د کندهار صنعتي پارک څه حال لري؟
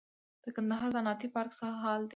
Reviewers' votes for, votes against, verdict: 2, 0, accepted